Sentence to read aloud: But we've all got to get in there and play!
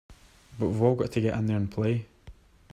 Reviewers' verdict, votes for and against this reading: accepted, 2, 1